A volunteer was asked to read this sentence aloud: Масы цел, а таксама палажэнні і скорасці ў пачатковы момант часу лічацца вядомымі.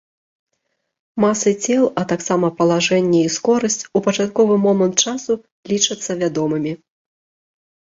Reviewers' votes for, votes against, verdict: 1, 2, rejected